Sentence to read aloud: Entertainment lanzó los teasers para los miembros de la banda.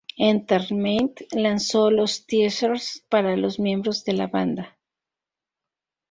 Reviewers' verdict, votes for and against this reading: rejected, 2, 2